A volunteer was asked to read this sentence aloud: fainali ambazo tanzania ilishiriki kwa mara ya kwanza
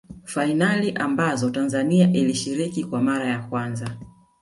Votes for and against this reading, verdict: 1, 2, rejected